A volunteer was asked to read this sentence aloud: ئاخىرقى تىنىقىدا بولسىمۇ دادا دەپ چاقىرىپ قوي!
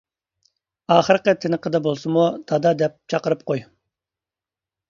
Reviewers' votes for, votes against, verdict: 3, 0, accepted